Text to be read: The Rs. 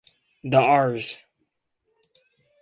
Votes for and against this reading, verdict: 0, 2, rejected